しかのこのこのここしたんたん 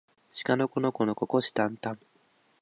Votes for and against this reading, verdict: 4, 4, rejected